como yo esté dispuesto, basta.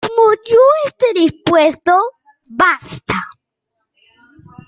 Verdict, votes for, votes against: rejected, 0, 2